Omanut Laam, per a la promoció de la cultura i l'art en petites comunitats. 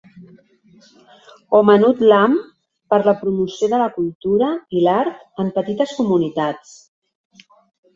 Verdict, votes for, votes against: rejected, 2, 3